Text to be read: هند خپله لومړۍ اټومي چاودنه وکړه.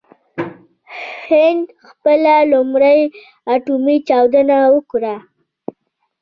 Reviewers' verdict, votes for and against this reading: accepted, 2, 0